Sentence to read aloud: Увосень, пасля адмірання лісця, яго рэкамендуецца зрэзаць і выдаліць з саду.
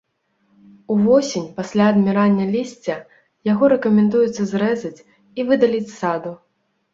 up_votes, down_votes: 2, 0